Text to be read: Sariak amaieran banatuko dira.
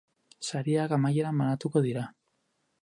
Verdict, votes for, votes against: accepted, 4, 2